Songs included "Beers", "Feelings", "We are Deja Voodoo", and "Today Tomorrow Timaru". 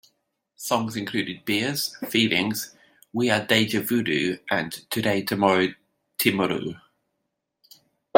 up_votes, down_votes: 2, 1